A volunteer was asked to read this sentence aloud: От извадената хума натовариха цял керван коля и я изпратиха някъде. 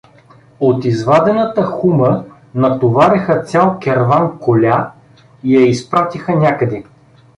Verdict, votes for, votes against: accepted, 2, 0